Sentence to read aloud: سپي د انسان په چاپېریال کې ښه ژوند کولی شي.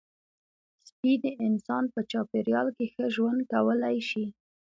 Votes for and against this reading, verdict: 2, 0, accepted